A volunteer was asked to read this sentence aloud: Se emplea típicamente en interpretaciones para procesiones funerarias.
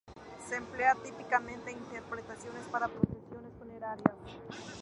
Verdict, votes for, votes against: rejected, 0, 2